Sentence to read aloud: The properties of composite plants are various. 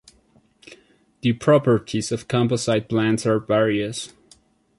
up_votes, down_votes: 1, 2